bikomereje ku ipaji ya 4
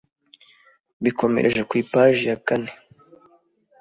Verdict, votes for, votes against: rejected, 0, 2